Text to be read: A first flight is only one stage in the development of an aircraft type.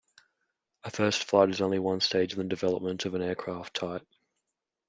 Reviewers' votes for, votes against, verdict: 2, 0, accepted